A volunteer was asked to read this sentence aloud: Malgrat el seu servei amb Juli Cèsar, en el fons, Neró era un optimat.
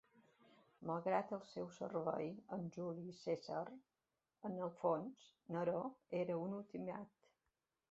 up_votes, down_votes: 1, 2